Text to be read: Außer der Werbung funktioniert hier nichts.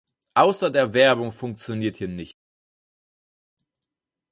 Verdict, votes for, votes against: rejected, 0, 4